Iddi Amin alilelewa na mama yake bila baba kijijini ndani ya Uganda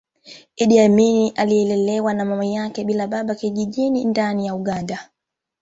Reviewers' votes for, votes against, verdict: 2, 1, accepted